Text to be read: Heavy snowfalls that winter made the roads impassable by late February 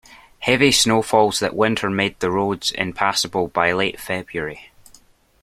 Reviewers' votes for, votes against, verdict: 2, 0, accepted